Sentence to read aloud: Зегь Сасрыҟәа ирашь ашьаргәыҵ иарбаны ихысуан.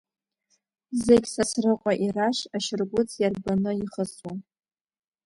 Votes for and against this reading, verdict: 1, 2, rejected